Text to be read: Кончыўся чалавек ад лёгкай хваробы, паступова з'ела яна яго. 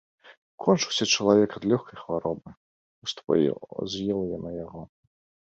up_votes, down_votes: 0, 3